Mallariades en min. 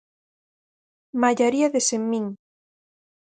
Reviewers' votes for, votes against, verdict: 0, 4, rejected